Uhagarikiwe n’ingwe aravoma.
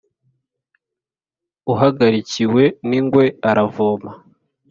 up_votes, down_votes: 2, 0